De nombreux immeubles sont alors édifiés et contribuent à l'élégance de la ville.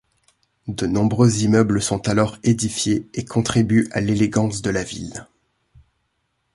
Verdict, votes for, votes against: accepted, 2, 1